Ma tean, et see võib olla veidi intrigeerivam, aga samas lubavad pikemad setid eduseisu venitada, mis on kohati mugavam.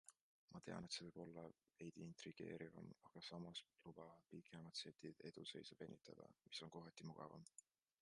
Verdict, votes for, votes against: accepted, 2, 0